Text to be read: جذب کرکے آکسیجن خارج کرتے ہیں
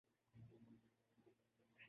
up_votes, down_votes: 0, 3